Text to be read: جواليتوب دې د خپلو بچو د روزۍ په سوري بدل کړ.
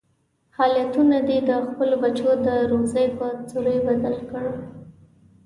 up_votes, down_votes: 0, 2